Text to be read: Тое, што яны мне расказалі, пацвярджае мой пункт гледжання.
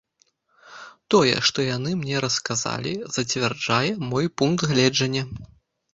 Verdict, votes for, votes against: rejected, 0, 2